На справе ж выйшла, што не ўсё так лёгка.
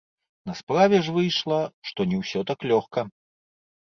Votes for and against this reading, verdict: 0, 2, rejected